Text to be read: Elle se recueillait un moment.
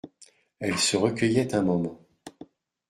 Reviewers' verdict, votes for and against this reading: accepted, 2, 0